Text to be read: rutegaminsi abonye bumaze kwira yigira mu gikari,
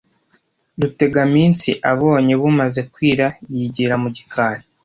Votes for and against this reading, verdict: 2, 0, accepted